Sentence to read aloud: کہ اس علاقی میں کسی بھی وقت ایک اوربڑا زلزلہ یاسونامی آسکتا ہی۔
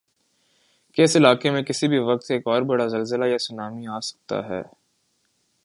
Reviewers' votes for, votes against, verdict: 2, 0, accepted